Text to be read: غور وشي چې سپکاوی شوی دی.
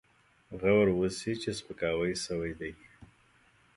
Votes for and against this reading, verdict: 2, 0, accepted